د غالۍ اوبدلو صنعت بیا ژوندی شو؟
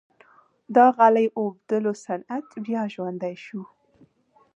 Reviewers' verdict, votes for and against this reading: accepted, 2, 0